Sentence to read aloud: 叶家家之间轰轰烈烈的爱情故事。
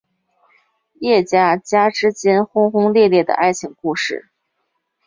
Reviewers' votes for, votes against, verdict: 10, 0, accepted